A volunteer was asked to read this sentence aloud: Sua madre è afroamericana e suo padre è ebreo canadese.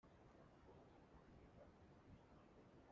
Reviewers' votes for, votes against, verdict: 0, 2, rejected